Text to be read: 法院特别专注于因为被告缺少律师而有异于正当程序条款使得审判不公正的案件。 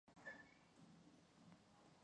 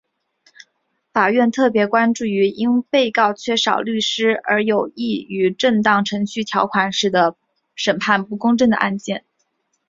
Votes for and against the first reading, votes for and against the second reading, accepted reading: 2, 7, 2, 1, second